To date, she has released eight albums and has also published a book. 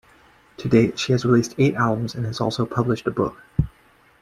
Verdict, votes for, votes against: accepted, 2, 0